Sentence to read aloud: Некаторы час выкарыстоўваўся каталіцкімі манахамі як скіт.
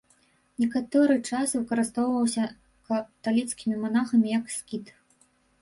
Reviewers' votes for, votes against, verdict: 0, 2, rejected